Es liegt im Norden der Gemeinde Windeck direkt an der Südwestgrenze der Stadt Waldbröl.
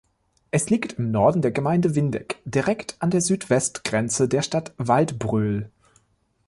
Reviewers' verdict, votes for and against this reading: accepted, 2, 0